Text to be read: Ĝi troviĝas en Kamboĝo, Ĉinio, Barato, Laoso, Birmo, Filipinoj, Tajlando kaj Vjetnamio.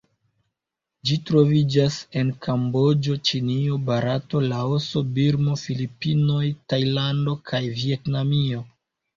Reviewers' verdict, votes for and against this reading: accepted, 2, 1